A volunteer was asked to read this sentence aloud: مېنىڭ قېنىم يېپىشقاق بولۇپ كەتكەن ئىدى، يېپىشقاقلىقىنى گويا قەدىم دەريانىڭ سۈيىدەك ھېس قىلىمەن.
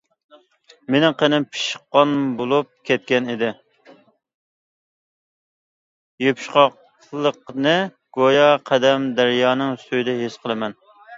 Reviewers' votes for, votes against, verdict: 0, 2, rejected